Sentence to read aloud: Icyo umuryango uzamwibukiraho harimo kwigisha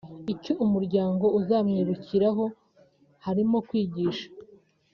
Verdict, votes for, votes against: accepted, 3, 0